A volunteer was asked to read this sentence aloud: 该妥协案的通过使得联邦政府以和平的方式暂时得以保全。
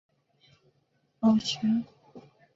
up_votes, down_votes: 1, 2